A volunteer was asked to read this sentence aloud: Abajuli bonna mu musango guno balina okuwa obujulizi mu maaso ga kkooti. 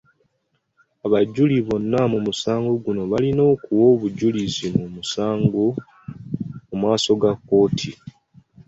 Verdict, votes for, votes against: rejected, 0, 2